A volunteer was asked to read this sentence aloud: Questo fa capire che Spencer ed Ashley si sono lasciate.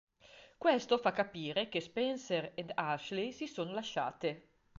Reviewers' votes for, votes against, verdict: 2, 0, accepted